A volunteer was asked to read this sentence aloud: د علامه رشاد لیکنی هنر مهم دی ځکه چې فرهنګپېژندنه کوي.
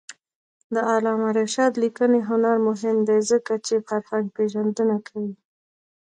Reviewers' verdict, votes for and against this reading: rejected, 1, 2